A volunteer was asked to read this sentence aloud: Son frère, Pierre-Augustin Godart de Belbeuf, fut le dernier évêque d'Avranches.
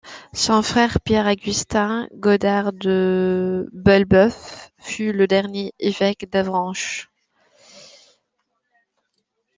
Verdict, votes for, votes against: accepted, 2, 1